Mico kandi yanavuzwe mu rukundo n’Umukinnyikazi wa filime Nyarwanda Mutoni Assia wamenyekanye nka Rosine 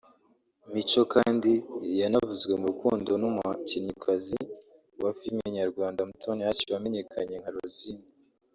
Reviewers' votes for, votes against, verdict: 0, 2, rejected